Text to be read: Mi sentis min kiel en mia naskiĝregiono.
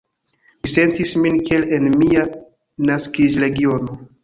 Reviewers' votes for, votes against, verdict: 0, 3, rejected